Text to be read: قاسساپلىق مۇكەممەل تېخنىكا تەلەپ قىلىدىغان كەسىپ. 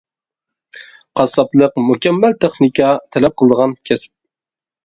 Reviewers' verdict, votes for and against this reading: accepted, 2, 0